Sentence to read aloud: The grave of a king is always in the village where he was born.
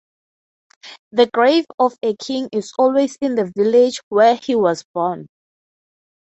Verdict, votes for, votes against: accepted, 3, 0